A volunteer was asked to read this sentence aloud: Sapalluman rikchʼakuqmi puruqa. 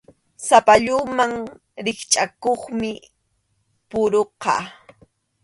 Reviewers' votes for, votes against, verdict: 2, 0, accepted